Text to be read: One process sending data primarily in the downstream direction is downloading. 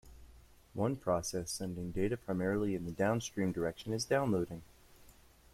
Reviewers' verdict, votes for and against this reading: accepted, 2, 0